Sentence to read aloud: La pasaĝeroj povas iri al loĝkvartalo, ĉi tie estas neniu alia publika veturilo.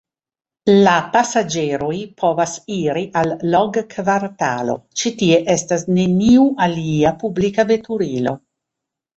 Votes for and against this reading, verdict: 2, 3, rejected